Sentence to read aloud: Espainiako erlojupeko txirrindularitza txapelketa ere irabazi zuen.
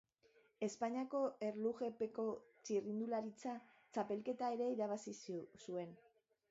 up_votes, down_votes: 0, 2